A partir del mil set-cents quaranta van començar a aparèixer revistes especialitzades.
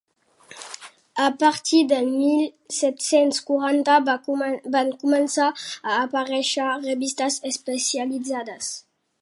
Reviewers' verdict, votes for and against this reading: rejected, 0, 2